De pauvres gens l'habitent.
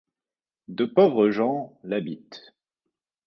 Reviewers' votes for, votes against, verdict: 2, 0, accepted